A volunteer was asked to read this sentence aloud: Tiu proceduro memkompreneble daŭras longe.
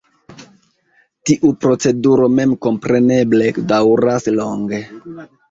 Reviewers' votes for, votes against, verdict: 1, 2, rejected